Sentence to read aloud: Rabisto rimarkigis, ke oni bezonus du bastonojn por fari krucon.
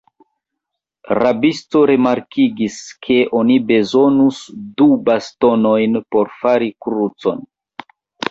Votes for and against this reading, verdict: 1, 2, rejected